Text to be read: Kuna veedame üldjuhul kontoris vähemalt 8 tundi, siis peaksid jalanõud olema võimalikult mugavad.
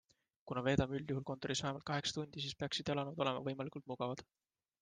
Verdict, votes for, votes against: rejected, 0, 2